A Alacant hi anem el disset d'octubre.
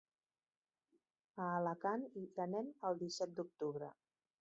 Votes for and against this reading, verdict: 1, 2, rejected